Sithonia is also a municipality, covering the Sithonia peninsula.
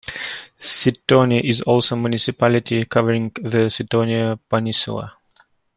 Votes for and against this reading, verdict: 2, 0, accepted